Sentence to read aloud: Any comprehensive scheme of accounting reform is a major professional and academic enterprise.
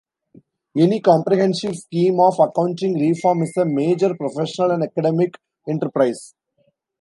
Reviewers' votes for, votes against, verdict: 2, 1, accepted